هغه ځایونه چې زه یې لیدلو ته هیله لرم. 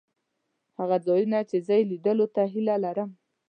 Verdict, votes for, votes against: accepted, 2, 0